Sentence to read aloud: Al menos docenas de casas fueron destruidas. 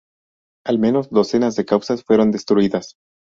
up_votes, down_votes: 0, 2